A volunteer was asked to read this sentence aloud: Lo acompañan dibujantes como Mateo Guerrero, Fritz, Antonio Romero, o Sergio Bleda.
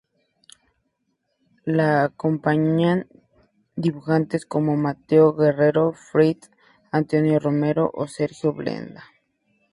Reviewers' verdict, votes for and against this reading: accepted, 2, 0